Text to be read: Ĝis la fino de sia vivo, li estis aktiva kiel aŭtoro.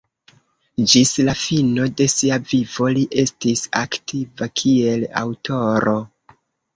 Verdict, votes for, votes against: accepted, 2, 1